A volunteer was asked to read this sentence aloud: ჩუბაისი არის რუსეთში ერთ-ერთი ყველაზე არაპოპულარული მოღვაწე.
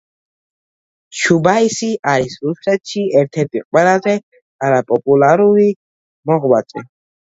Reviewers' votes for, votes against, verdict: 1, 2, rejected